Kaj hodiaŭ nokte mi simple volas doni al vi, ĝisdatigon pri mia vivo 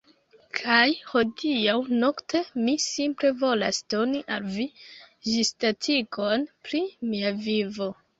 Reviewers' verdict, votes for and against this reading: rejected, 1, 2